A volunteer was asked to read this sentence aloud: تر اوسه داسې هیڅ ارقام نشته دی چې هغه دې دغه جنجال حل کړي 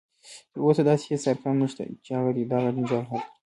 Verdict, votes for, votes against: accepted, 2, 0